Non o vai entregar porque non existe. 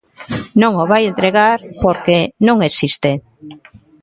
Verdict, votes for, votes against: accepted, 2, 0